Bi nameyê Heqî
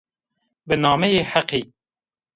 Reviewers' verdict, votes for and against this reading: accepted, 2, 0